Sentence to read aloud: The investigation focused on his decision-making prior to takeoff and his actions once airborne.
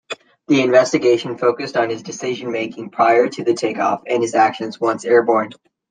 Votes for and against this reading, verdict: 0, 2, rejected